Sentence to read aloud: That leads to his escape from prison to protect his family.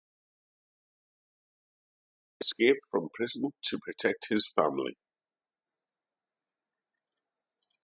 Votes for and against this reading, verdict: 1, 2, rejected